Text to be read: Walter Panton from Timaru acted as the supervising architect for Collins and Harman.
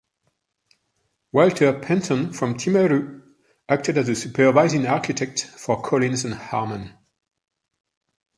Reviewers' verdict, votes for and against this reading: accepted, 3, 0